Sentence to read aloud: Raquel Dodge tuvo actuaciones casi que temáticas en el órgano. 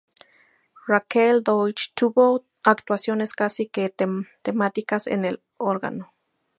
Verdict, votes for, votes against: rejected, 0, 2